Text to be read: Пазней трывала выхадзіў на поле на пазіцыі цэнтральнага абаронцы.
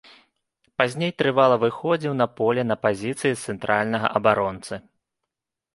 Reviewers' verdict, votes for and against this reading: rejected, 0, 2